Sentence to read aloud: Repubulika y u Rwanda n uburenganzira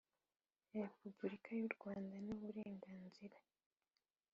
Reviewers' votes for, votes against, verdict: 5, 0, accepted